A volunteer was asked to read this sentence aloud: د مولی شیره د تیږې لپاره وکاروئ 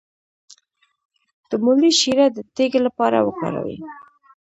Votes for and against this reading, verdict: 1, 2, rejected